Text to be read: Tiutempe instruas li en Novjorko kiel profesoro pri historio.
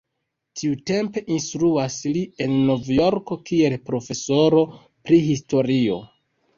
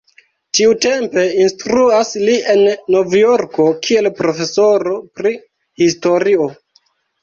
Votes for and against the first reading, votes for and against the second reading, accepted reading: 2, 1, 0, 2, first